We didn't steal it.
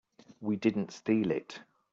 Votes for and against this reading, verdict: 2, 0, accepted